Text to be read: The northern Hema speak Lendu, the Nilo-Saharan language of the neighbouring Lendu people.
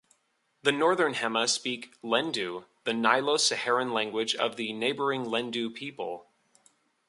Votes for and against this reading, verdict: 2, 0, accepted